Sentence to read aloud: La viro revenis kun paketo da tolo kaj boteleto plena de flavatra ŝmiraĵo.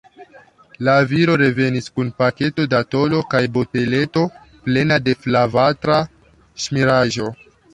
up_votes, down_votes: 3, 1